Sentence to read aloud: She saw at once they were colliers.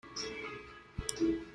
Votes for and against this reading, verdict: 0, 2, rejected